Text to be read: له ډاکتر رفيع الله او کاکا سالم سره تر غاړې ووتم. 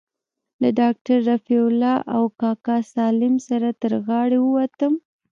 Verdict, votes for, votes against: rejected, 1, 2